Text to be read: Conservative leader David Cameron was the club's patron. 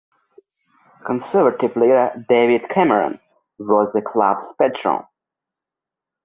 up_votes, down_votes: 2, 0